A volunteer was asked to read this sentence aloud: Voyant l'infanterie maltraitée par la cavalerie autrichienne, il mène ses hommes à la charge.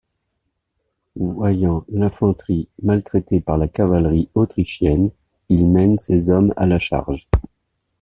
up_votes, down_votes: 1, 2